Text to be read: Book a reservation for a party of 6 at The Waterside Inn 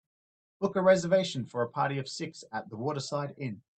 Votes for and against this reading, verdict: 0, 2, rejected